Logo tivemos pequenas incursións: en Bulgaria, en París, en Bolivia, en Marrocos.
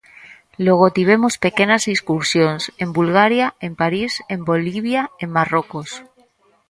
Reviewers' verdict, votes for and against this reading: rejected, 0, 2